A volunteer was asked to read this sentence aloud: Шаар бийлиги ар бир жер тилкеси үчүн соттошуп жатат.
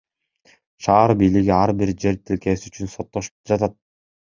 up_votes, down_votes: 2, 0